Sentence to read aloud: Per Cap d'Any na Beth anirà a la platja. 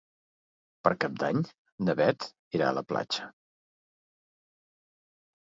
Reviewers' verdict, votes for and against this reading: rejected, 1, 2